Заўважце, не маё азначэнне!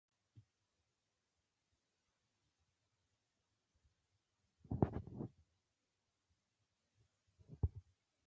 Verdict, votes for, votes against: rejected, 0, 2